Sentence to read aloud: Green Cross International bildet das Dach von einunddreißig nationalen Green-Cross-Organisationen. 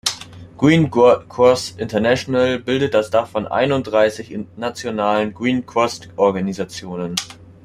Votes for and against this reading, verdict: 1, 2, rejected